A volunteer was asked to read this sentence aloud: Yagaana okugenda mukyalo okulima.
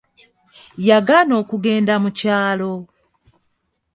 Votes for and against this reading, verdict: 1, 2, rejected